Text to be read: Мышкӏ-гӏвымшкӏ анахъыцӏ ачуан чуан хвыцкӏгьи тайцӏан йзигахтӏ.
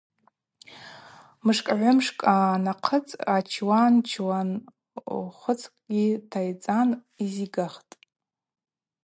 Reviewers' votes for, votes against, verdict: 2, 0, accepted